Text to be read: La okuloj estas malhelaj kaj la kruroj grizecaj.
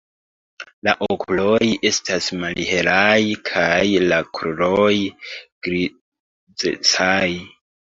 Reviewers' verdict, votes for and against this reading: rejected, 0, 2